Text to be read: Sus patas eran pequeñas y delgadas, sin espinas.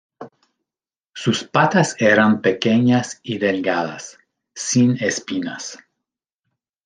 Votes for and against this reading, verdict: 2, 0, accepted